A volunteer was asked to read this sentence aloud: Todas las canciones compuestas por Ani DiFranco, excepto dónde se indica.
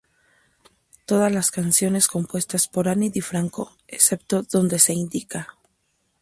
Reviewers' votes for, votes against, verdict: 2, 0, accepted